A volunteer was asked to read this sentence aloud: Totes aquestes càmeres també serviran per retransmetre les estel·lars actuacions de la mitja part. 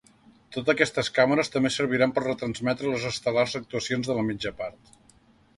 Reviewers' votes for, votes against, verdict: 0, 2, rejected